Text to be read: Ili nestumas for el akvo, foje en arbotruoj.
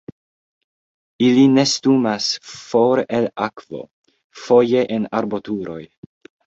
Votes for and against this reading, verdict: 1, 2, rejected